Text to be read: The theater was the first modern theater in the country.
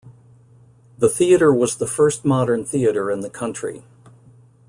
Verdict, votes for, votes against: accepted, 2, 0